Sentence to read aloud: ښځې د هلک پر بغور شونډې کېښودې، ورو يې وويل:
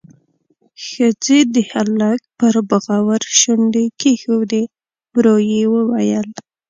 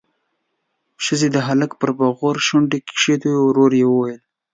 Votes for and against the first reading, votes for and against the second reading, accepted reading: 1, 2, 2, 1, second